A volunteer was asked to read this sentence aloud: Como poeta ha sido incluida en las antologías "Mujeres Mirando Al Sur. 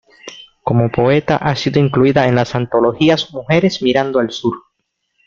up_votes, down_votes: 2, 0